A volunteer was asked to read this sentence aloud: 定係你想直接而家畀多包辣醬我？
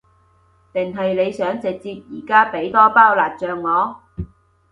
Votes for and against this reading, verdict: 2, 0, accepted